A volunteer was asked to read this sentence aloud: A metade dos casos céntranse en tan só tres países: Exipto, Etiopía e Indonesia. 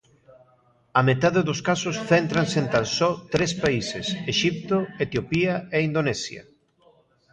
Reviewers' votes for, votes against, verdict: 0, 2, rejected